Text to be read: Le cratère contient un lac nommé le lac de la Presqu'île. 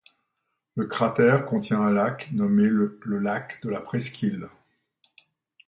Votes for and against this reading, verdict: 0, 2, rejected